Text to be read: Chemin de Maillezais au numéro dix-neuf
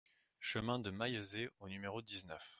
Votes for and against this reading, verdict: 2, 0, accepted